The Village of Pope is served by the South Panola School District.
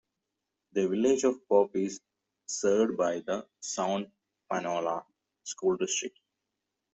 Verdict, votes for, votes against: rejected, 1, 2